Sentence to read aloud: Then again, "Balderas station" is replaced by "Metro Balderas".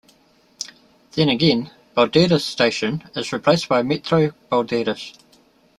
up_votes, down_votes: 3, 1